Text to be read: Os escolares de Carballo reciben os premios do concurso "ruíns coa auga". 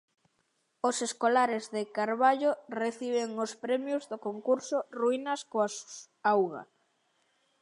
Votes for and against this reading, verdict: 1, 2, rejected